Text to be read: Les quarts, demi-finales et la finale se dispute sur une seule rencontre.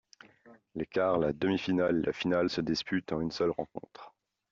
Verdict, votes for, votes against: rejected, 0, 2